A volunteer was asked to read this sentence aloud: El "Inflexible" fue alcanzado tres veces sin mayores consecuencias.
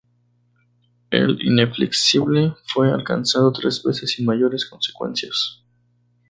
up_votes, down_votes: 0, 2